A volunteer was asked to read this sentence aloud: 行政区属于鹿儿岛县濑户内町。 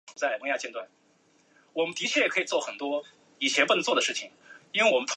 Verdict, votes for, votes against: rejected, 0, 2